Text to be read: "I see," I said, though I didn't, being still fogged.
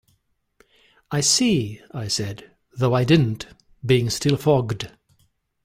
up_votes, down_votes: 2, 0